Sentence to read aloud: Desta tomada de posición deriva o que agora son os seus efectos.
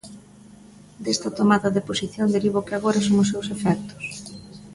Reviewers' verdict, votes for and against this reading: accepted, 2, 0